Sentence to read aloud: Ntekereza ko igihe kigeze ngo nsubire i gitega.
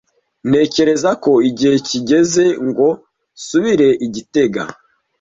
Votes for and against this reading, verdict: 2, 0, accepted